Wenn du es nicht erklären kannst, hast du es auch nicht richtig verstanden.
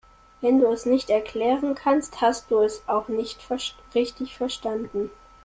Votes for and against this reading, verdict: 0, 2, rejected